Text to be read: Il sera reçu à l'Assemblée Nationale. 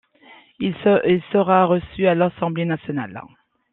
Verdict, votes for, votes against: accepted, 2, 0